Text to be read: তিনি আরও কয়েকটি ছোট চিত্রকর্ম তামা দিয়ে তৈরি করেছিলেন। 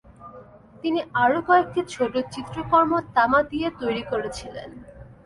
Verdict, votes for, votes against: accepted, 2, 0